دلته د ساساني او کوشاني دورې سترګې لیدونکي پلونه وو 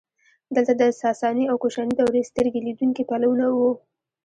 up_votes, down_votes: 1, 2